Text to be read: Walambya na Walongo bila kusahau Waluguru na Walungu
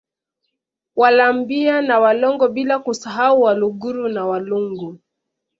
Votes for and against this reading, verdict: 2, 0, accepted